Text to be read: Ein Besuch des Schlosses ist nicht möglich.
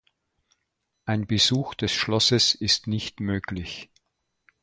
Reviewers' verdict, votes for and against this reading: accepted, 2, 0